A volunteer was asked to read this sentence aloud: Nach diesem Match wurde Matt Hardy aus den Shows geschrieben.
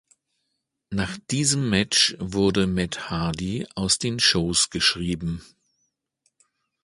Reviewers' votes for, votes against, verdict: 3, 0, accepted